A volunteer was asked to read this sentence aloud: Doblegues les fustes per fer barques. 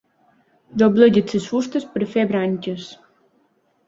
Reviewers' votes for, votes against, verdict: 0, 2, rejected